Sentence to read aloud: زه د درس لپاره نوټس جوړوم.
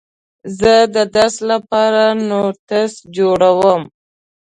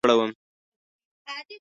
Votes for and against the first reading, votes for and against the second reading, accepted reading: 2, 0, 1, 2, first